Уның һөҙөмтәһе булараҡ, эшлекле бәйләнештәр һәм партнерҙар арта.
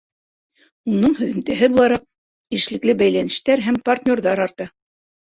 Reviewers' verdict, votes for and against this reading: accepted, 2, 0